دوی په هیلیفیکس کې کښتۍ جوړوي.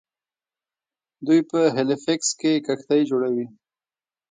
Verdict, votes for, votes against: rejected, 1, 2